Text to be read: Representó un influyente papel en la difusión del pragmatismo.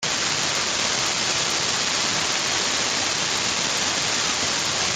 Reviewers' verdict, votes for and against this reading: rejected, 0, 2